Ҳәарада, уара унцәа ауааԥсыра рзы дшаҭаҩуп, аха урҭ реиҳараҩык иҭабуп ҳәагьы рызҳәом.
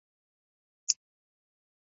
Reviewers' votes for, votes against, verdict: 0, 2, rejected